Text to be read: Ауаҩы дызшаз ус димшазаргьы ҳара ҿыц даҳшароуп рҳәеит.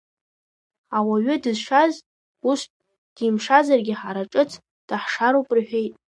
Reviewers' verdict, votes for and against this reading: rejected, 1, 2